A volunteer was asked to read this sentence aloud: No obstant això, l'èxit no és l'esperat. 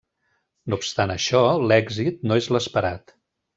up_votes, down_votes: 3, 0